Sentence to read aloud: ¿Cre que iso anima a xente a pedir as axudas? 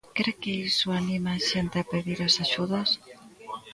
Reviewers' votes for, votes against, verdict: 1, 2, rejected